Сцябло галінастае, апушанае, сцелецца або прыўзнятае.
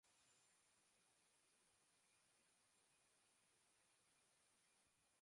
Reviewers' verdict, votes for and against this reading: rejected, 0, 2